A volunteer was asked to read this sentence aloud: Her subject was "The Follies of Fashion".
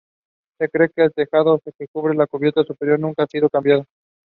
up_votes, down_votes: 1, 2